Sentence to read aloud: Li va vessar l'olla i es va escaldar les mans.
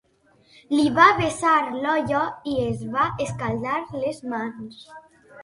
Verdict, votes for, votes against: rejected, 3, 9